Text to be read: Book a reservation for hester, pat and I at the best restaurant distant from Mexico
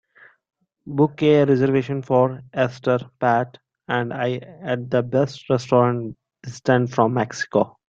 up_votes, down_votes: 1, 2